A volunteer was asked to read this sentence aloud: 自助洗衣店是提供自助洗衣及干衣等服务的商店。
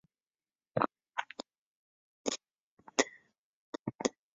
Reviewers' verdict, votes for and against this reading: rejected, 0, 5